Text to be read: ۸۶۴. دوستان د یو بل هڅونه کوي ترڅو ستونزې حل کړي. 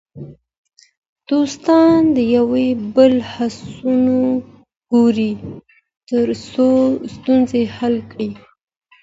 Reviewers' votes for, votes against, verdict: 0, 2, rejected